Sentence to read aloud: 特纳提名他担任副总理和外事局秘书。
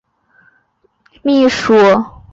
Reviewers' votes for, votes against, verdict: 0, 2, rejected